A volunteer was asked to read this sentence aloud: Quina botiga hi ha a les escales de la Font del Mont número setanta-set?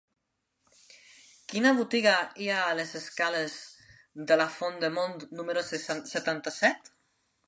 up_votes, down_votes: 0, 2